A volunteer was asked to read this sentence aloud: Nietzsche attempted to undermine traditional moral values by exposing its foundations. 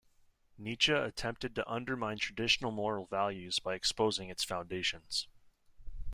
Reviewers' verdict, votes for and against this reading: accepted, 2, 0